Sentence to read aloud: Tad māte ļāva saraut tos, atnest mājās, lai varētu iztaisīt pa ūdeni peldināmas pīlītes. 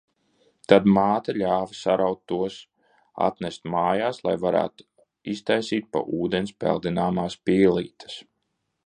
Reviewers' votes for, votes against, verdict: 0, 2, rejected